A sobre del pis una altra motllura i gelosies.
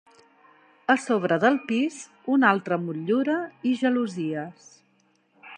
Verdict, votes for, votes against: accepted, 3, 0